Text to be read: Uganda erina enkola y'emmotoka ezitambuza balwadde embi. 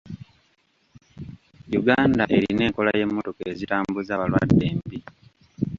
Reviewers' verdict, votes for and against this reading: accepted, 2, 1